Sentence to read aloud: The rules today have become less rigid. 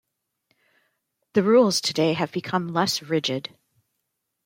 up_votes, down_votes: 1, 2